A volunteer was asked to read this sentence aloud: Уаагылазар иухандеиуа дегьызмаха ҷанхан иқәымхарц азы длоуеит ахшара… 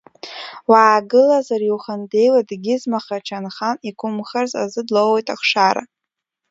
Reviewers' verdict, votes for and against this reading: accepted, 2, 0